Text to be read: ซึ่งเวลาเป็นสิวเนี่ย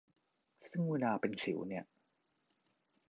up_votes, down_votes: 1, 2